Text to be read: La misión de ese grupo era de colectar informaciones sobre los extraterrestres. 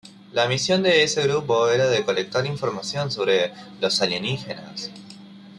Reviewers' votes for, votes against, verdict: 0, 2, rejected